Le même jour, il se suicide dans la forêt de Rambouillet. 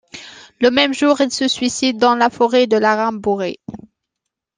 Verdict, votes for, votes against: rejected, 0, 2